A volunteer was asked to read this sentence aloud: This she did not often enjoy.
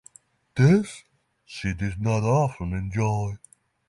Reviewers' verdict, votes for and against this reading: rejected, 0, 3